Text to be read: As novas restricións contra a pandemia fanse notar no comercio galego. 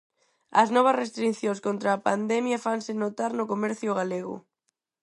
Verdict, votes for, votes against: accepted, 4, 0